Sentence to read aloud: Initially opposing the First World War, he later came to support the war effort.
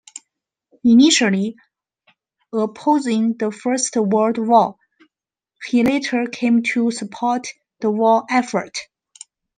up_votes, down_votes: 2, 0